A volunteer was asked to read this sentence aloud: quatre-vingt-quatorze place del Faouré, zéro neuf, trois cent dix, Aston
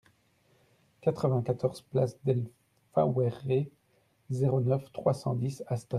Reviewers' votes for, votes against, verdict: 0, 2, rejected